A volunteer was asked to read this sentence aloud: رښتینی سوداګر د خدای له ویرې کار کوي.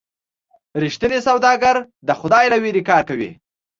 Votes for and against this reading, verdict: 2, 0, accepted